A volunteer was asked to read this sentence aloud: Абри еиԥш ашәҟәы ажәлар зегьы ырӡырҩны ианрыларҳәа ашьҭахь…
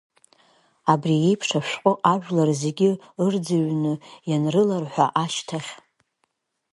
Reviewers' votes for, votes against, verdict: 0, 2, rejected